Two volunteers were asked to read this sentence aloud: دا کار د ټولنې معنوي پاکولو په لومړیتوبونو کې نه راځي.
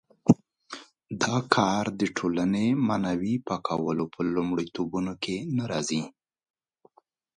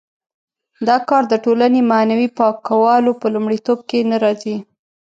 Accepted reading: first